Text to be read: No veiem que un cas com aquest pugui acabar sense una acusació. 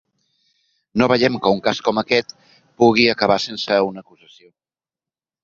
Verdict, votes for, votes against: rejected, 0, 2